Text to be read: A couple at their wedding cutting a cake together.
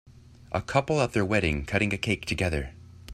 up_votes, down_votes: 2, 0